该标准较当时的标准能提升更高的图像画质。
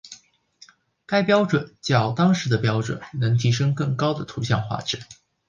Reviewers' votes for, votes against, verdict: 2, 0, accepted